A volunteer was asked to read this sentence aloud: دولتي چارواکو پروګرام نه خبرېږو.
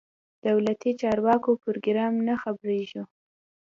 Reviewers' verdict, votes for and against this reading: rejected, 1, 2